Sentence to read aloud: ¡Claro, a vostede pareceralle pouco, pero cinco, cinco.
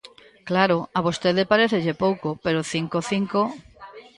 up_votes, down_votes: 0, 2